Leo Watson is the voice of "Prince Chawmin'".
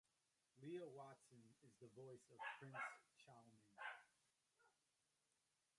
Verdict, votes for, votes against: rejected, 1, 2